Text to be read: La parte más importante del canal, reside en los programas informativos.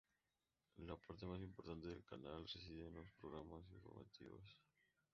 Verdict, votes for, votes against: accepted, 2, 0